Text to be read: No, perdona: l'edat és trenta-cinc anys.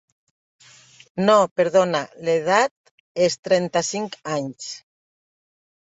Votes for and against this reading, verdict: 3, 0, accepted